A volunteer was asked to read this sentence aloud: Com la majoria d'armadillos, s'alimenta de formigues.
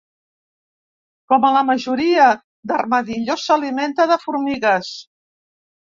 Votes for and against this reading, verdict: 1, 2, rejected